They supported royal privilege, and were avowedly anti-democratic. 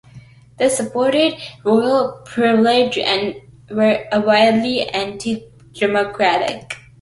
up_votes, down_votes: 0, 2